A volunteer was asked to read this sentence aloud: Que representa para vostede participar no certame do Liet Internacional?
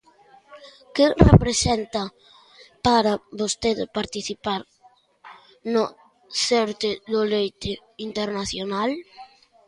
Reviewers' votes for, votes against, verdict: 0, 2, rejected